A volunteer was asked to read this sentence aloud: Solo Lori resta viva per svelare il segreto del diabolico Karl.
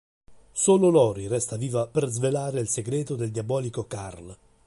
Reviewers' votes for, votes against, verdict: 3, 0, accepted